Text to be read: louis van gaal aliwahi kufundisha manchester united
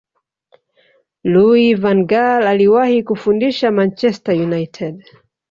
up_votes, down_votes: 1, 2